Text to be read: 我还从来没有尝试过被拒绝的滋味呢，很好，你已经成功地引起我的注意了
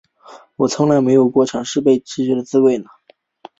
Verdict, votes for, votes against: rejected, 0, 2